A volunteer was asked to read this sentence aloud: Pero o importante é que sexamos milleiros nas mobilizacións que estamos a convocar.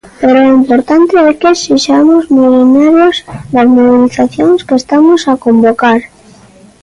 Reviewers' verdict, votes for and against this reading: rejected, 0, 2